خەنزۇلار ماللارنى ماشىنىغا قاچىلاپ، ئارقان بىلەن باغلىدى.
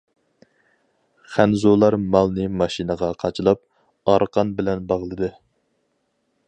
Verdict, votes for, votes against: rejected, 2, 2